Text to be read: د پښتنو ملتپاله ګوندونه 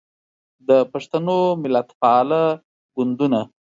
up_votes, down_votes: 2, 0